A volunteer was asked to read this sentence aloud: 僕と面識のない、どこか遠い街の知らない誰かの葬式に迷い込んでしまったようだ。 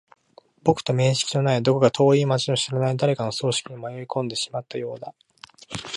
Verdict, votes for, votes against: accepted, 2, 0